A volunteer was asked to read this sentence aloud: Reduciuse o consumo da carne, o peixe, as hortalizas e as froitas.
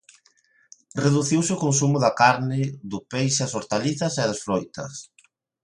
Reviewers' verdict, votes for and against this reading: rejected, 0, 2